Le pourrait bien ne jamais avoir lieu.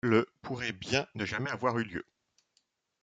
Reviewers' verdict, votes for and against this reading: rejected, 0, 2